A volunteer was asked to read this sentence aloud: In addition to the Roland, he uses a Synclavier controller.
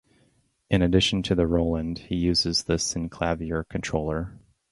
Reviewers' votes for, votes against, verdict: 0, 2, rejected